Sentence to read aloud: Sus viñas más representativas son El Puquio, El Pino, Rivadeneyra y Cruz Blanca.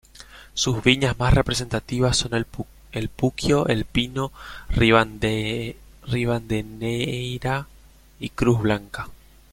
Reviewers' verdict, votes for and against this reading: rejected, 0, 2